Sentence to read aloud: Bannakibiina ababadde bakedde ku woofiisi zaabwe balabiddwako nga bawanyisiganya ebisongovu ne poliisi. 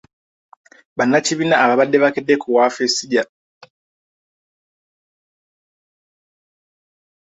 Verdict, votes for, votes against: rejected, 0, 2